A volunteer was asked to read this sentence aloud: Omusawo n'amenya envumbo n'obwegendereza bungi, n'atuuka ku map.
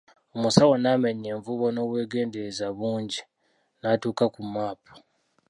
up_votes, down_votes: 0, 2